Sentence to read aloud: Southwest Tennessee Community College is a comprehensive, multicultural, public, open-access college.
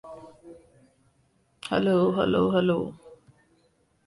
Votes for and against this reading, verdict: 0, 2, rejected